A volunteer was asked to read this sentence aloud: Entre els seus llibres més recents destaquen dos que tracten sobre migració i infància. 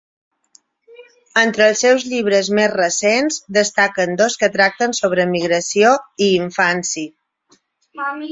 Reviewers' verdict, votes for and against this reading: rejected, 0, 6